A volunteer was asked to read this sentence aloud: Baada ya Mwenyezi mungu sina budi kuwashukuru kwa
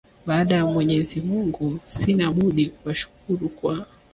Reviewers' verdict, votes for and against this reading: accepted, 2, 1